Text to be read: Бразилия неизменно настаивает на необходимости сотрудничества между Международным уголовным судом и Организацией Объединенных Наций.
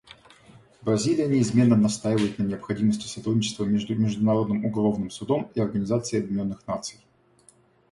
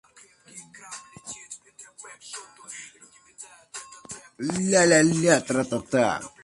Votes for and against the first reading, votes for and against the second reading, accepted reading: 2, 0, 0, 2, first